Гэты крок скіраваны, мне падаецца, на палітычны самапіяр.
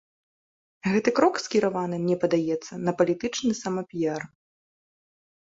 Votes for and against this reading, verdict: 2, 0, accepted